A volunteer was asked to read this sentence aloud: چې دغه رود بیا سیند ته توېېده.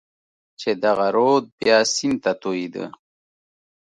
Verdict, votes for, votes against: accepted, 2, 0